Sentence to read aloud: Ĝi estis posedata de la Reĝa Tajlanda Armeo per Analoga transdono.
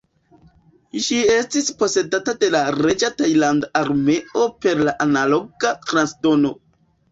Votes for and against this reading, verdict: 0, 2, rejected